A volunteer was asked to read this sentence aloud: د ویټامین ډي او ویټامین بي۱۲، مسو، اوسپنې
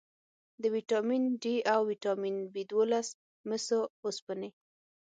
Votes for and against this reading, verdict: 0, 2, rejected